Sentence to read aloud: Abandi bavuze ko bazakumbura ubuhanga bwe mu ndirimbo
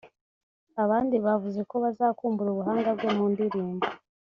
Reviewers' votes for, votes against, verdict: 2, 0, accepted